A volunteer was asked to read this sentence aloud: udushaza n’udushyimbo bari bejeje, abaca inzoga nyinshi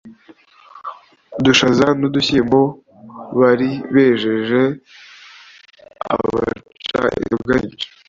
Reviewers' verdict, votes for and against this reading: rejected, 1, 2